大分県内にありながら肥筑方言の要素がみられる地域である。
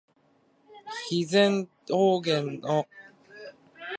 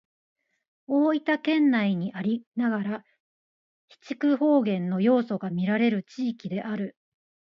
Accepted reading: second